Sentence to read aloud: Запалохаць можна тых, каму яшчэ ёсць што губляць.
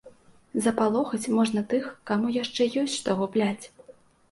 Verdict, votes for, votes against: accepted, 2, 0